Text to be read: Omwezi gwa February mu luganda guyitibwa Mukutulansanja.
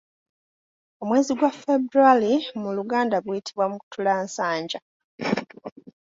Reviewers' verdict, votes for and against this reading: accepted, 2, 0